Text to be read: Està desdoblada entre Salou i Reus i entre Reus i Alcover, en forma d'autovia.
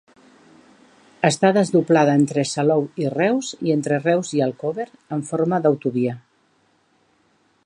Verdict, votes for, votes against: rejected, 1, 2